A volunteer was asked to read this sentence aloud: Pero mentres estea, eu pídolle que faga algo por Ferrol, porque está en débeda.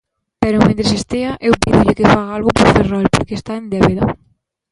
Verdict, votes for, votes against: accepted, 2, 0